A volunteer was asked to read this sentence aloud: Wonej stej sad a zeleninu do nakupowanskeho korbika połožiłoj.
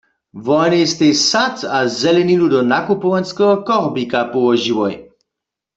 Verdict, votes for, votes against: accepted, 2, 0